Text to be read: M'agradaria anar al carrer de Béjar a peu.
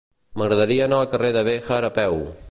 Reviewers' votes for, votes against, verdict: 2, 0, accepted